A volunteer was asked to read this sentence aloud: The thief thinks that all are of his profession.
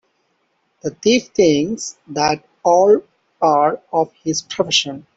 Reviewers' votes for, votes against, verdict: 1, 2, rejected